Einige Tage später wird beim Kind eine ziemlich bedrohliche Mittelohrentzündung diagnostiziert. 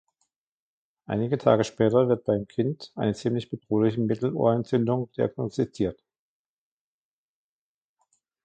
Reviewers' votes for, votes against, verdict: 2, 1, accepted